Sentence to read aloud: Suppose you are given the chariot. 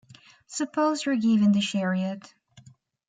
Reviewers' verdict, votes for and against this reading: rejected, 1, 2